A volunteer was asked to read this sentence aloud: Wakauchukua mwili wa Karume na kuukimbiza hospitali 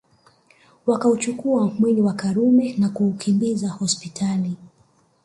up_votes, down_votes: 2, 1